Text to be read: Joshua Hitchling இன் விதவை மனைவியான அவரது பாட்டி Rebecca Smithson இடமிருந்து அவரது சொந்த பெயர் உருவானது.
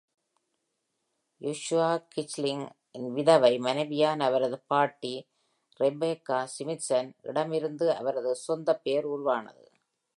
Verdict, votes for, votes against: accepted, 2, 0